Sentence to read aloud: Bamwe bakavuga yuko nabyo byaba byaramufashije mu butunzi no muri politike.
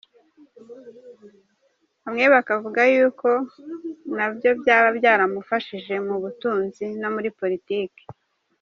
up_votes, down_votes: 2, 0